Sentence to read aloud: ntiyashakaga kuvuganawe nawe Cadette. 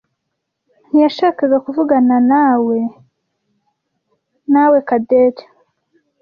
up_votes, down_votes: 1, 2